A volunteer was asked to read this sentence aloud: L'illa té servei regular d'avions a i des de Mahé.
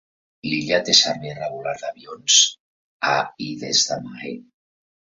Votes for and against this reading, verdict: 1, 2, rejected